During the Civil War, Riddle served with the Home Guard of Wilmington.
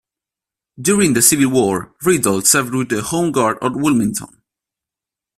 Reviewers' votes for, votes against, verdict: 0, 2, rejected